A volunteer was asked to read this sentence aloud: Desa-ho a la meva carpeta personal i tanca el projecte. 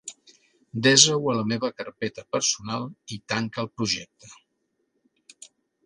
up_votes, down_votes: 2, 0